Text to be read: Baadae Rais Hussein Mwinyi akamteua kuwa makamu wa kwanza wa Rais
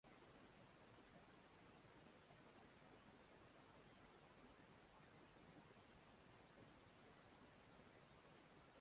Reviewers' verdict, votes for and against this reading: rejected, 0, 2